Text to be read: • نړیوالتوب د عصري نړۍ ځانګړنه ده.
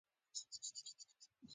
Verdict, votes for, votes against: rejected, 1, 2